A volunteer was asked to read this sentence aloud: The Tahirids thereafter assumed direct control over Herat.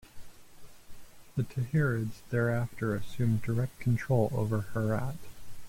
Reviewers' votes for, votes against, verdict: 2, 0, accepted